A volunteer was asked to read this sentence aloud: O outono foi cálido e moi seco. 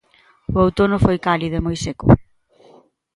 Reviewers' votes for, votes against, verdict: 2, 0, accepted